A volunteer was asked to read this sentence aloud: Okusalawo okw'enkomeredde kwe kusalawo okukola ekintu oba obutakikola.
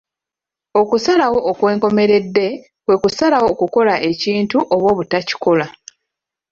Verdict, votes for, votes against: accepted, 2, 0